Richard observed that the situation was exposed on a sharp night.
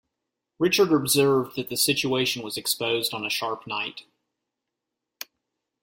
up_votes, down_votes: 2, 0